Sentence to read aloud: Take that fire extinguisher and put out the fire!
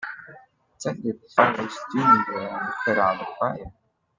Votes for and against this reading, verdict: 0, 2, rejected